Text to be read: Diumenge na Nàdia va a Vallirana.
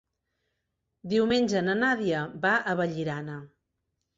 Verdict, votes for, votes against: accepted, 6, 0